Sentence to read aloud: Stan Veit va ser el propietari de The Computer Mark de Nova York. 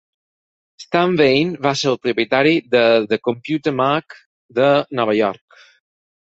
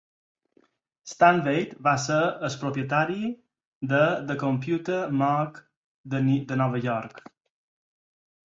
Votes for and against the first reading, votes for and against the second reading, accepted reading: 4, 2, 2, 4, first